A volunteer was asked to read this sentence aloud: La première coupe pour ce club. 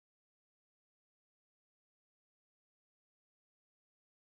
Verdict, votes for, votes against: rejected, 0, 2